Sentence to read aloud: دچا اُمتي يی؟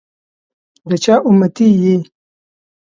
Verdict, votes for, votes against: accepted, 2, 0